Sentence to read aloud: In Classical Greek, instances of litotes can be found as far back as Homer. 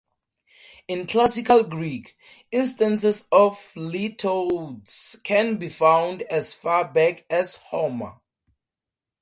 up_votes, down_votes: 2, 4